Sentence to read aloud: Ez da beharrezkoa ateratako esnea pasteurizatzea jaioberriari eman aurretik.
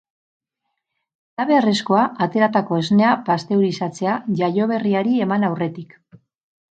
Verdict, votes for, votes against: accepted, 2, 0